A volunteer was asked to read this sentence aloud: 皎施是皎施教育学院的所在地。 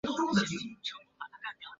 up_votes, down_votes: 2, 3